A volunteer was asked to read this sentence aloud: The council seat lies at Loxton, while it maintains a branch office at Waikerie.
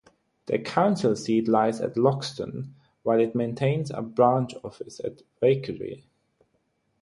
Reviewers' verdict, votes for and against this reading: rejected, 3, 3